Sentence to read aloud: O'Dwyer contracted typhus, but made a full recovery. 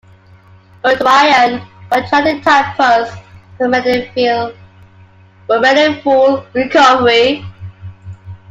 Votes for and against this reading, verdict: 0, 2, rejected